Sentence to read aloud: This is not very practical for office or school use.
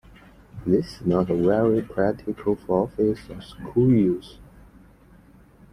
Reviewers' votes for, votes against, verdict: 0, 2, rejected